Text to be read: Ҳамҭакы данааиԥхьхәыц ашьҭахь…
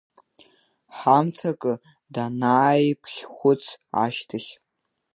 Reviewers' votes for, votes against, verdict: 2, 0, accepted